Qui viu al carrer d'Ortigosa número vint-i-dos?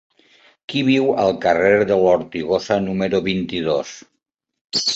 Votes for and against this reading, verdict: 2, 4, rejected